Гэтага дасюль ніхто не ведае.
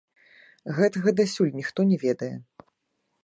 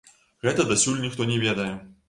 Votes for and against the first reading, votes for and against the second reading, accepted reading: 2, 1, 0, 2, first